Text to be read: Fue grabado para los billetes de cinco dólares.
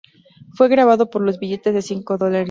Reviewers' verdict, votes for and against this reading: accepted, 2, 0